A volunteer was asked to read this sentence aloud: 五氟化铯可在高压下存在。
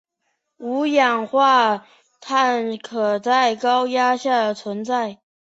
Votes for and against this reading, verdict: 0, 3, rejected